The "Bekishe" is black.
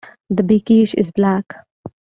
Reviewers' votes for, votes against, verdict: 2, 0, accepted